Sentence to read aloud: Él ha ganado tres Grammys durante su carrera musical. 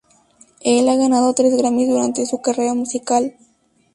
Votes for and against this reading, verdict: 0, 2, rejected